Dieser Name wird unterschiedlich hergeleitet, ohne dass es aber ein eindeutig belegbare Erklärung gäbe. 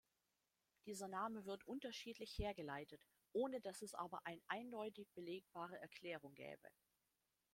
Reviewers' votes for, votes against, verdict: 1, 2, rejected